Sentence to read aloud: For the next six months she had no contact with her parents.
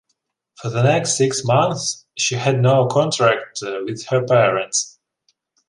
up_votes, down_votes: 0, 2